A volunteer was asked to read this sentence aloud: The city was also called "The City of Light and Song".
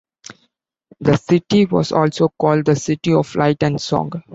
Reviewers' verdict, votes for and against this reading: accepted, 2, 0